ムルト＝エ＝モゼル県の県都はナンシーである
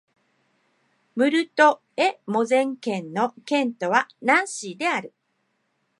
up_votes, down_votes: 2, 0